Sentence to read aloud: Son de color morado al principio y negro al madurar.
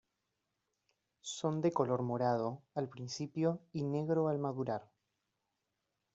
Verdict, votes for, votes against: accepted, 2, 0